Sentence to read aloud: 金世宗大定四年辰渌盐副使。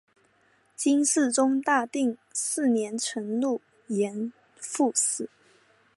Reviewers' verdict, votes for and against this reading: rejected, 0, 2